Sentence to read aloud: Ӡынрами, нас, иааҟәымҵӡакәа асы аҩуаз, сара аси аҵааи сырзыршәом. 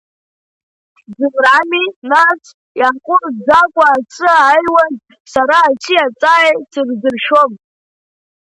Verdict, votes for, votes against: accepted, 2, 0